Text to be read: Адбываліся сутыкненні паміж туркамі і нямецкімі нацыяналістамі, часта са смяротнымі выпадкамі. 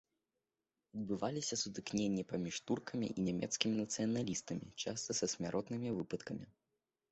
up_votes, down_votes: 2, 1